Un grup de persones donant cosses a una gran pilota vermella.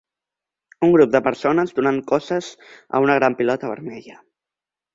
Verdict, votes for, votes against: accepted, 2, 0